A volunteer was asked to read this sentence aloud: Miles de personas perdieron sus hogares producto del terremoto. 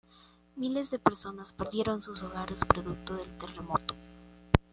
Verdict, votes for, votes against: accepted, 2, 1